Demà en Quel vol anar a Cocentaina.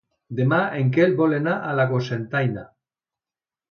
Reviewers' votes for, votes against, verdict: 1, 2, rejected